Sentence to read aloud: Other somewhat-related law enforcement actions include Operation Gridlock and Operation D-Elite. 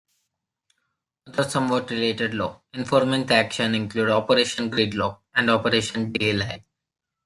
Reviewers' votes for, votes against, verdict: 2, 1, accepted